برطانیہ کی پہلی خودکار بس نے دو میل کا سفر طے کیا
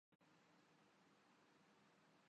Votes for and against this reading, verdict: 0, 3, rejected